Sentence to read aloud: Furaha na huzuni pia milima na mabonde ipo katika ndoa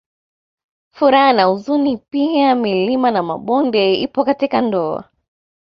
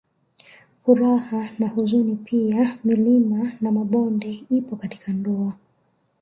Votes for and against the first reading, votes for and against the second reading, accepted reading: 2, 0, 1, 2, first